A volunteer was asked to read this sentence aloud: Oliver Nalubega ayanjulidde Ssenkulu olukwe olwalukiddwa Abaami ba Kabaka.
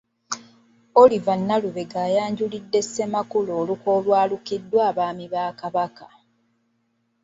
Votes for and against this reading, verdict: 0, 2, rejected